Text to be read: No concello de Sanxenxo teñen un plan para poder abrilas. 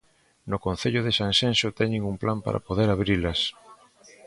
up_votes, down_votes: 2, 1